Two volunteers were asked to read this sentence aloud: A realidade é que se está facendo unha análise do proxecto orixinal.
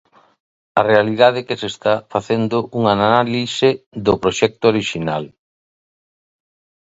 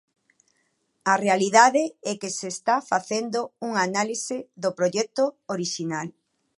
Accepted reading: first